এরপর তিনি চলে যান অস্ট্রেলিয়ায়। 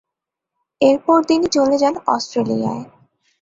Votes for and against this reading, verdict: 2, 0, accepted